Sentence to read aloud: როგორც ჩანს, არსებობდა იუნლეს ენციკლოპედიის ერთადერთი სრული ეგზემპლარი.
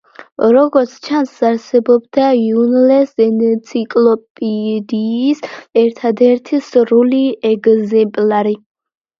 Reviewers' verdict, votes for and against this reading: rejected, 0, 2